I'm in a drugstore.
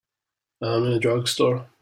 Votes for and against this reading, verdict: 2, 0, accepted